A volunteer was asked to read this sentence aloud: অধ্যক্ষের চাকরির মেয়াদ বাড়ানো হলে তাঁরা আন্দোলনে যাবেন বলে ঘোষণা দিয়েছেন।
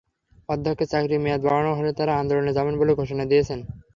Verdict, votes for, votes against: accepted, 3, 0